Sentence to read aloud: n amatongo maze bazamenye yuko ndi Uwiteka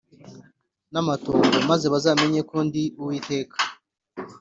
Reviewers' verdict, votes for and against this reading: accepted, 4, 0